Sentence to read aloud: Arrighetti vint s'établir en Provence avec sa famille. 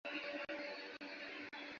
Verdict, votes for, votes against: rejected, 1, 2